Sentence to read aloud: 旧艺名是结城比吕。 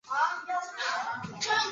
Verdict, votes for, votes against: rejected, 1, 3